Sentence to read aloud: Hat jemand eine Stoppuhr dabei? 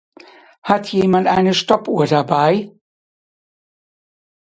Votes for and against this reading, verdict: 2, 0, accepted